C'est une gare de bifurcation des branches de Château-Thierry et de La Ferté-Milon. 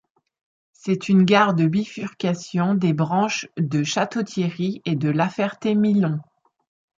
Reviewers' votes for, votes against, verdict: 2, 0, accepted